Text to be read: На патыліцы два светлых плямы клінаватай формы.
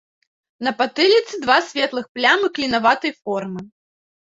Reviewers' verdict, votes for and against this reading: accepted, 2, 0